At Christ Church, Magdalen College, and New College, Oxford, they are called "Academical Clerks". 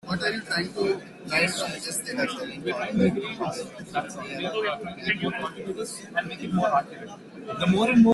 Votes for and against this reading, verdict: 0, 2, rejected